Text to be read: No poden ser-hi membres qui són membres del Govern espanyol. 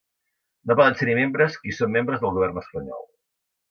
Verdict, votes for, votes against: rejected, 0, 2